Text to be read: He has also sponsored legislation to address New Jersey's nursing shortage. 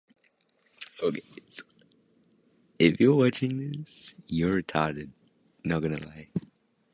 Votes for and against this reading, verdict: 0, 2, rejected